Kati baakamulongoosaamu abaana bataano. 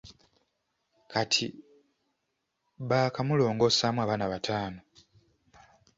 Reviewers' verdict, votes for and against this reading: accepted, 2, 0